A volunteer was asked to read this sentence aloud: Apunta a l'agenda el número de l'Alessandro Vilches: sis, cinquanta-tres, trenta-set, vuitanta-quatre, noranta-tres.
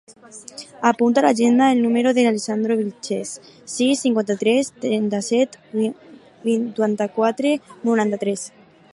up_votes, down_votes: 0, 4